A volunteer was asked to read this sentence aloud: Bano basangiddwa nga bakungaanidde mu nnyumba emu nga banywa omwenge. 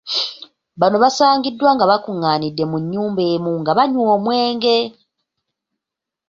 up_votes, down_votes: 2, 0